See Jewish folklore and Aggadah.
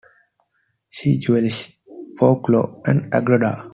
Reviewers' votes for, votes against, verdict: 1, 2, rejected